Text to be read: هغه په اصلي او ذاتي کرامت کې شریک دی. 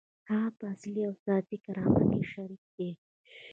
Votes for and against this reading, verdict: 2, 0, accepted